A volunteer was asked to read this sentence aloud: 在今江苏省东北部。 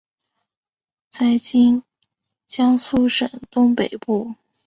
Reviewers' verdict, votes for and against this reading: accepted, 3, 0